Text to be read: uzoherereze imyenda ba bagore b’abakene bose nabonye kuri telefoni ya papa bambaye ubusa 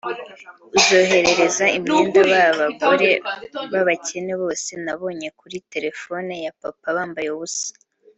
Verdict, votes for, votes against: rejected, 1, 2